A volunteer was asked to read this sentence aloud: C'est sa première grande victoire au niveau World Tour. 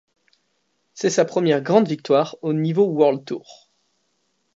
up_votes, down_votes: 2, 0